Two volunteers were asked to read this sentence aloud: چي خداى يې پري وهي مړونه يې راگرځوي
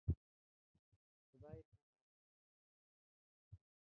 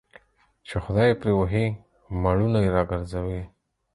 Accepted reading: second